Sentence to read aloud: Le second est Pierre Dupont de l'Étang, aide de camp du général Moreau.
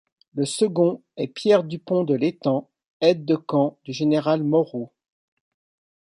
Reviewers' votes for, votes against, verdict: 2, 0, accepted